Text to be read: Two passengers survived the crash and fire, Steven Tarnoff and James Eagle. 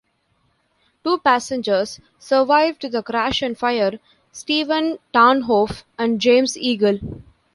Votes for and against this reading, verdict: 0, 2, rejected